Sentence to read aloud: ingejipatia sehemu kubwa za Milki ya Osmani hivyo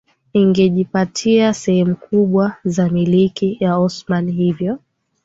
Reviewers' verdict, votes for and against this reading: accepted, 7, 3